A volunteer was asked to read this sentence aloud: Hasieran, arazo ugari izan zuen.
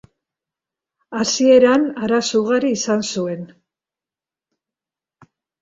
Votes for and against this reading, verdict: 3, 0, accepted